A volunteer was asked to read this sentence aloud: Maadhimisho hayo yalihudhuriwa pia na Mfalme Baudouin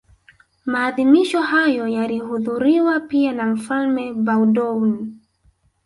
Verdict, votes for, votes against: accepted, 2, 0